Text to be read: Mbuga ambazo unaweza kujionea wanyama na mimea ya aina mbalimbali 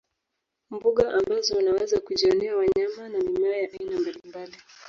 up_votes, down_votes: 1, 2